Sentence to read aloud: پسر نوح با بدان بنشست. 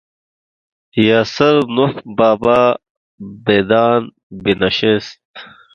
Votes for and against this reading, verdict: 1, 2, rejected